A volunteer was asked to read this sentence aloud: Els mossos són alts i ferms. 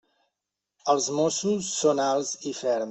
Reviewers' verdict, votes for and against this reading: rejected, 0, 2